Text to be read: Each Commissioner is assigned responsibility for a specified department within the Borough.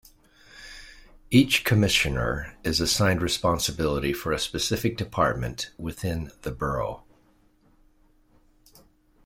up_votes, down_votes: 1, 2